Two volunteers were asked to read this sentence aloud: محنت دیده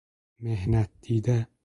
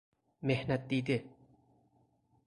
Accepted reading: second